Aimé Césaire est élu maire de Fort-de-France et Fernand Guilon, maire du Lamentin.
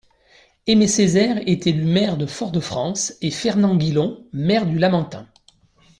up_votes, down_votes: 2, 0